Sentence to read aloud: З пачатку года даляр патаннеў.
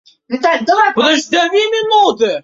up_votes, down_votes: 0, 2